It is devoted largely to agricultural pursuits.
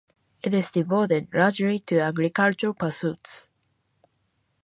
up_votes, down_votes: 2, 0